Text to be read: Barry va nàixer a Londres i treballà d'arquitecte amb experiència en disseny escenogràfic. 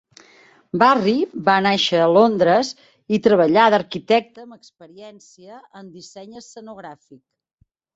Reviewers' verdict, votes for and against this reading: rejected, 1, 2